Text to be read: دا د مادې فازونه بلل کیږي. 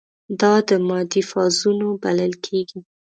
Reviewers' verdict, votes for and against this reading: rejected, 0, 2